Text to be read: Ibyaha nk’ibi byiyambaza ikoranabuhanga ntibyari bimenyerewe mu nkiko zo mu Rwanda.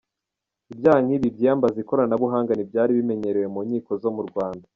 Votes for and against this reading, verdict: 1, 3, rejected